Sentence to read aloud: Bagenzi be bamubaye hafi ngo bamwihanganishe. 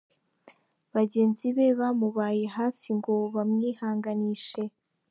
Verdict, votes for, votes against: accepted, 2, 1